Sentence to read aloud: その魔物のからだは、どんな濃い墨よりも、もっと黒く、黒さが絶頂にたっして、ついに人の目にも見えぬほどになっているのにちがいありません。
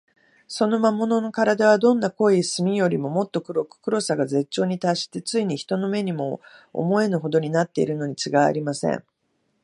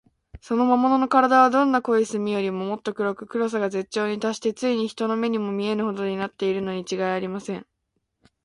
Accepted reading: second